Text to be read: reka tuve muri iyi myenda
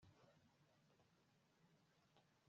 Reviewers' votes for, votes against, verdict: 1, 2, rejected